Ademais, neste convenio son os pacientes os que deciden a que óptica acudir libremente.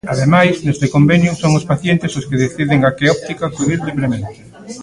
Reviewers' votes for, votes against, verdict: 1, 2, rejected